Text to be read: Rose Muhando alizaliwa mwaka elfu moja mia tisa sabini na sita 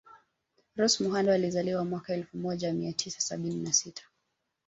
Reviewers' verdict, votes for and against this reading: rejected, 1, 2